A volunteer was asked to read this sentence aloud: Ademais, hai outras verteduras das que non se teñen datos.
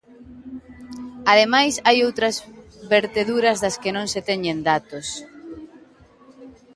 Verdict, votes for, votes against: accepted, 2, 1